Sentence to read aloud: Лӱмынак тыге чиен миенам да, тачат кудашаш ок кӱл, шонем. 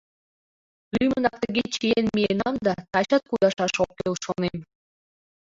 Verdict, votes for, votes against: rejected, 0, 2